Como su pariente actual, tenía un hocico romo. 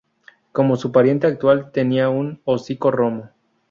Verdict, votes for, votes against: accepted, 6, 0